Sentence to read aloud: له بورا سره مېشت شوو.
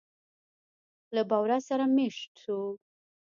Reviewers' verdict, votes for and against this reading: rejected, 0, 2